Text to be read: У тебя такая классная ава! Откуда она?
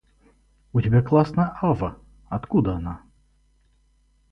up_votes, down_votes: 0, 4